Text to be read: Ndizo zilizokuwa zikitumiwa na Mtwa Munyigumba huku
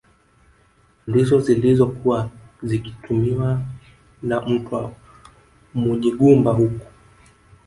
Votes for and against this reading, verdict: 0, 2, rejected